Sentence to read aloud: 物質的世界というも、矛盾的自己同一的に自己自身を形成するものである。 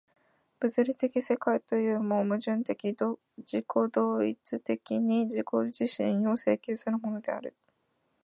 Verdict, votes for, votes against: rejected, 1, 2